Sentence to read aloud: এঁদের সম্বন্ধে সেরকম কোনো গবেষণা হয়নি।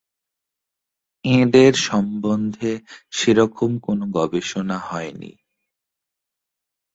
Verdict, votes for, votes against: accepted, 4, 0